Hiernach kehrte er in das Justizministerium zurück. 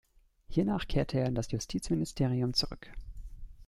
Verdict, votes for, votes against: accepted, 2, 0